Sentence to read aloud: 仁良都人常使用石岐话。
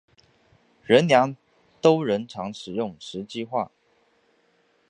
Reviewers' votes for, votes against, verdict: 5, 1, accepted